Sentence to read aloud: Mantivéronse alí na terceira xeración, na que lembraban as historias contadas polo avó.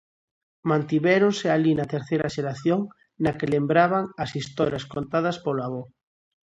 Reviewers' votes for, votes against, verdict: 2, 0, accepted